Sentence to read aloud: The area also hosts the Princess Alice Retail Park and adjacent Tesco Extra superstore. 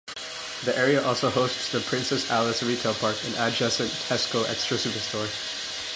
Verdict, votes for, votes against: rejected, 1, 2